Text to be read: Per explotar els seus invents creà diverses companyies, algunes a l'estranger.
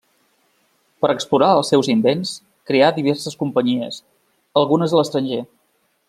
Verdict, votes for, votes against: rejected, 1, 2